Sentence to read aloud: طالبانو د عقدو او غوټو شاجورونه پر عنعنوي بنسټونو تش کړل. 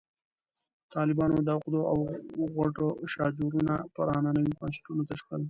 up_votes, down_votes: 0, 2